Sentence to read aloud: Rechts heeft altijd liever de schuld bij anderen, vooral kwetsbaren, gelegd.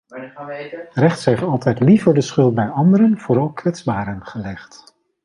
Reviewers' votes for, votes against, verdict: 1, 3, rejected